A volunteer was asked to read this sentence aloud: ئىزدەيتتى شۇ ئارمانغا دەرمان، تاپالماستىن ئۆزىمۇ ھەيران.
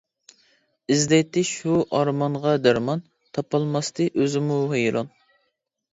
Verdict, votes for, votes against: rejected, 0, 4